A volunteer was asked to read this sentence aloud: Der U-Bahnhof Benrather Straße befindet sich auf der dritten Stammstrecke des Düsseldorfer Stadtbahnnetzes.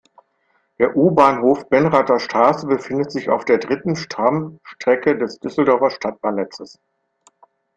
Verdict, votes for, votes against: rejected, 1, 2